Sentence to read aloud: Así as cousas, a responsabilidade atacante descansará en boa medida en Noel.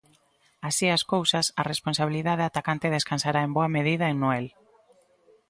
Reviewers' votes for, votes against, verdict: 2, 0, accepted